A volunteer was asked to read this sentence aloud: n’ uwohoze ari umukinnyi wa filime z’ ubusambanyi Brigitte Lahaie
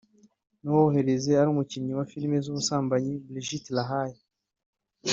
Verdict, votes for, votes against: rejected, 0, 2